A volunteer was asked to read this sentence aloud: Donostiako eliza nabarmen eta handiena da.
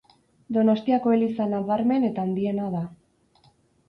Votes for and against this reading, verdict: 4, 0, accepted